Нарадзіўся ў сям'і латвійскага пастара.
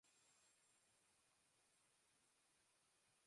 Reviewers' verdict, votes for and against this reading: rejected, 0, 2